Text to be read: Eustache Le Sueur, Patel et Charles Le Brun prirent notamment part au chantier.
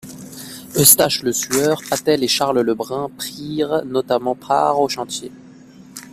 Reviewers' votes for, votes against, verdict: 2, 0, accepted